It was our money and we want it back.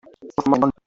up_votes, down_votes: 0, 2